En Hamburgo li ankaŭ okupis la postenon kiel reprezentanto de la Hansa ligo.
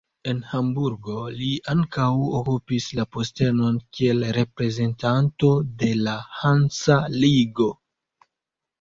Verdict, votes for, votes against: accepted, 2, 0